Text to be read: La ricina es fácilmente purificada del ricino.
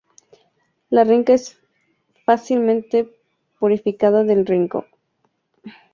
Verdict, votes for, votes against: rejected, 0, 2